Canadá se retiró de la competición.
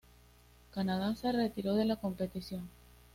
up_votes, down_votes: 2, 0